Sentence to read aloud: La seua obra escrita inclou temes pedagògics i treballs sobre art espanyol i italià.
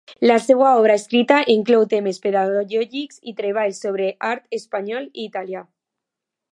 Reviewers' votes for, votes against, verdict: 0, 2, rejected